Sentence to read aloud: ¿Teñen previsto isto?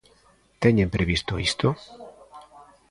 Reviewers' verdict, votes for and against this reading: rejected, 0, 2